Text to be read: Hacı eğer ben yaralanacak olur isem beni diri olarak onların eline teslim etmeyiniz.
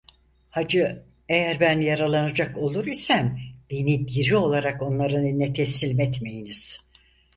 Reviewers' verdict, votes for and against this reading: accepted, 4, 0